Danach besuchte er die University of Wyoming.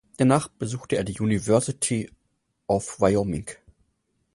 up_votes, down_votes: 4, 0